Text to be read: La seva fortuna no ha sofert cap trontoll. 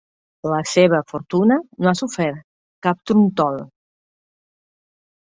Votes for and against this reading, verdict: 0, 3, rejected